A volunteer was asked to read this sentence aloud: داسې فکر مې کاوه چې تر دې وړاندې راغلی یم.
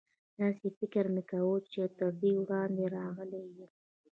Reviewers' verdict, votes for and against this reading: accepted, 2, 0